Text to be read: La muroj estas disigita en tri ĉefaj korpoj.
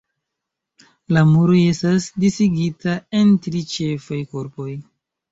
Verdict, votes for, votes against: accepted, 2, 0